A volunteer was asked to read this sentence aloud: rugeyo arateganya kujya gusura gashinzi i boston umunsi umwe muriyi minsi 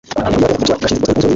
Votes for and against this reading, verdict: 2, 0, accepted